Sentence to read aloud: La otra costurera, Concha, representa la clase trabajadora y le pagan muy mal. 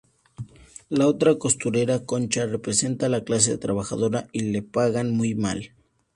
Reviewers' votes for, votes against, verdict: 2, 0, accepted